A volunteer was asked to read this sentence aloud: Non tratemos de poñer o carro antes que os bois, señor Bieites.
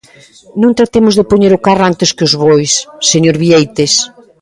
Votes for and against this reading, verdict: 2, 0, accepted